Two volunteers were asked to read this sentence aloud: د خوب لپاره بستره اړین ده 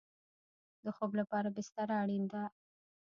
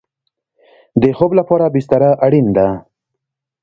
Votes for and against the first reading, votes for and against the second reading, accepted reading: 0, 2, 2, 1, second